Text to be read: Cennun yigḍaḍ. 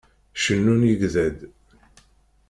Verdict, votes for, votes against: rejected, 1, 2